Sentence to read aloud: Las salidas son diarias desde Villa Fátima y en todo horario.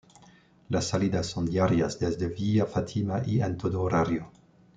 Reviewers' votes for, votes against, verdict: 2, 1, accepted